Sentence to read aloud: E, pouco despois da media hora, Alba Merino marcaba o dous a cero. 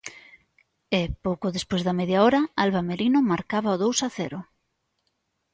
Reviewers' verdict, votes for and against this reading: accepted, 3, 0